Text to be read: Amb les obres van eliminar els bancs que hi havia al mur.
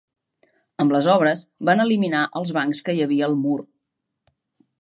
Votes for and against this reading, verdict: 3, 0, accepted